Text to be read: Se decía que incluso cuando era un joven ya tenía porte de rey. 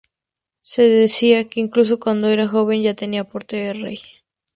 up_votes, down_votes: 2, 2